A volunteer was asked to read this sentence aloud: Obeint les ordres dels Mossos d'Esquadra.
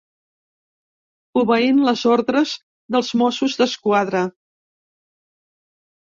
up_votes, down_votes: 3, 0